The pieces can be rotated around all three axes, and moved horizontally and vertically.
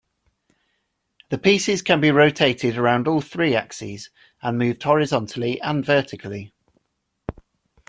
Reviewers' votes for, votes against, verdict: 2, 0, accepted